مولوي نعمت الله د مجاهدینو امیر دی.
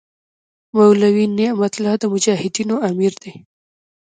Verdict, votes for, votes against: rejected, 0, 2